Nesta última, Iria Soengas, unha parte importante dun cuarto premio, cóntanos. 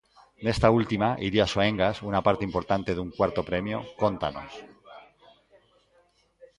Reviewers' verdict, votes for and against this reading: accepted, 2, 1